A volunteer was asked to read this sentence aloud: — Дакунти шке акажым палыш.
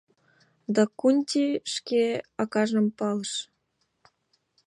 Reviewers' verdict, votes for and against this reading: accepted, 2, 0